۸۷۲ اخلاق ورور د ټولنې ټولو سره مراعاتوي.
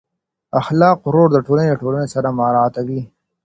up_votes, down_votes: 0, 2